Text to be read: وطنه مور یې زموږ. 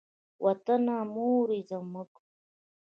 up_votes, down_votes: 2, 1